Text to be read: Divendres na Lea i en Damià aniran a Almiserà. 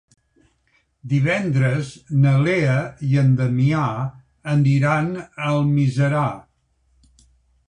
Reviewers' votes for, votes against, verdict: 4, 1, accepted